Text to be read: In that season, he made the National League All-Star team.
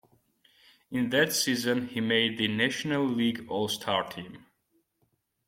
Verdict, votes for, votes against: accepted, 2, 1